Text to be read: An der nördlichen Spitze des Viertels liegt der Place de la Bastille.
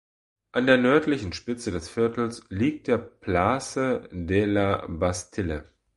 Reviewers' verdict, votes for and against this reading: rejected, 1, 2